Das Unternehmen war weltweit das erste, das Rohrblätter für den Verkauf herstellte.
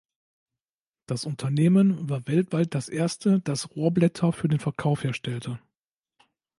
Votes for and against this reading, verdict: 2, 0, accepted